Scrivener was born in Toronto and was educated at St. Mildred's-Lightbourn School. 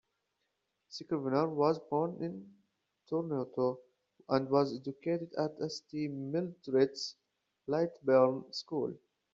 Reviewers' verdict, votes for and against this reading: rejected, 0, 2